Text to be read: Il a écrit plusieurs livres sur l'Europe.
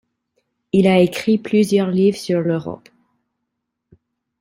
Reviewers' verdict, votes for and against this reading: accepted, 2, 0